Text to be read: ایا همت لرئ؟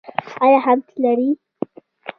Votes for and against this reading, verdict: 0, 2, rejected